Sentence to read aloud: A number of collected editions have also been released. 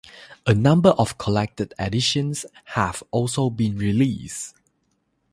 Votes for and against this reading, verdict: 0, 3, rejected